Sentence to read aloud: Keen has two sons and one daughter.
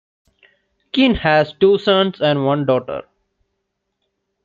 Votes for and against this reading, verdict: 2, 0, accepted